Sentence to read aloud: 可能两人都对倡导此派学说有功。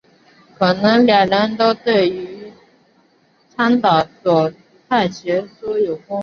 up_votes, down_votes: 0, 3